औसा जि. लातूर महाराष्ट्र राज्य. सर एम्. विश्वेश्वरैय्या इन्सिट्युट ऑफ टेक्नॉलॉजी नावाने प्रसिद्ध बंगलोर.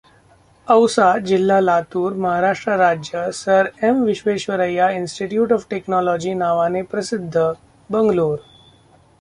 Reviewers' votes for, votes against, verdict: 0, 2, rejected